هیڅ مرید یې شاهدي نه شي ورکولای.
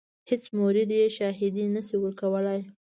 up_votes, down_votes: 2, 0